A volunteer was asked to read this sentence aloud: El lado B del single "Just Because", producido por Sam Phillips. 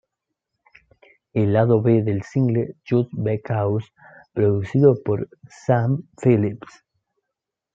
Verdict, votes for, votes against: accepted, 2, 1